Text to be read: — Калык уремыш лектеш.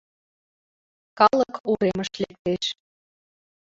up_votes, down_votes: 2, 0